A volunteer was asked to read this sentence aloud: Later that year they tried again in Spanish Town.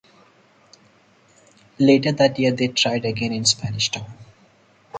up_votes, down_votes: 0, 2